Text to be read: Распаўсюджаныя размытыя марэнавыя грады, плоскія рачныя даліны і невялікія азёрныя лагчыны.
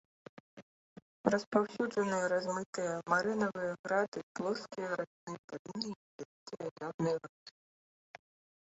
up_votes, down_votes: 0, 3